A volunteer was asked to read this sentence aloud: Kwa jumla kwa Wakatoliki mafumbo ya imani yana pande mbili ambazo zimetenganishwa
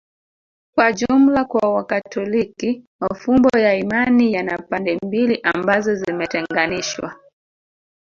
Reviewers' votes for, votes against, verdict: 1, 2, rejected